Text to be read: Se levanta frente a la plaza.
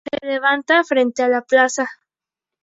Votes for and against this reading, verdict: 2, 0, accepted